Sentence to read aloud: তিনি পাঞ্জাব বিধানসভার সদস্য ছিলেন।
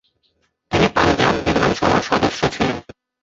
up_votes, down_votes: 1, 2